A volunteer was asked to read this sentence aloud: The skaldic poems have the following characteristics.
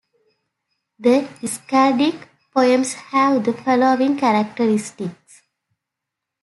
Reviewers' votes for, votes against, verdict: 2, 0, accepted